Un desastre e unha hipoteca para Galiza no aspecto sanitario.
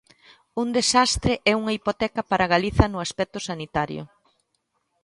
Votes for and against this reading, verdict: 2, 0, accepted